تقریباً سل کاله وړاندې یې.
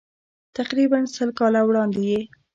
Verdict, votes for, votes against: accepted, 2, 0